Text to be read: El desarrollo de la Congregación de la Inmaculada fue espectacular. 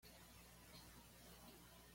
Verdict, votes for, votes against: rejected, 1, 2